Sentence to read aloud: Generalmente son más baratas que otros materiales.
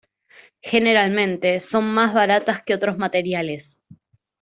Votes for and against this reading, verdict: 2, 0, accepted